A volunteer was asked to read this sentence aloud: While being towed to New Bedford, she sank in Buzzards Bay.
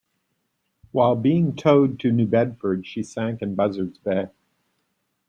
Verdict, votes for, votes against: accepted, 2, 0